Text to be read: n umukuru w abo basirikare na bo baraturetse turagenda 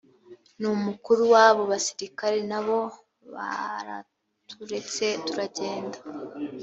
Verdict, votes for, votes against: accepted, 2, 0